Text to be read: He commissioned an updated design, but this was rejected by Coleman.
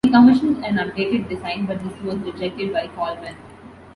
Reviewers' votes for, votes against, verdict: 2, 0, accepted